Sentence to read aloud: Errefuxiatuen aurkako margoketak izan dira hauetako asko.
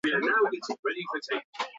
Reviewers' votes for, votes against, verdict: 0, 2, rejected